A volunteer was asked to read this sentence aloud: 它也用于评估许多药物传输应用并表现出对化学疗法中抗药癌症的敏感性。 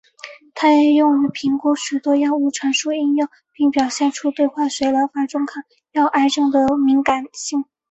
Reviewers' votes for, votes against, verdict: 5, 1, accepted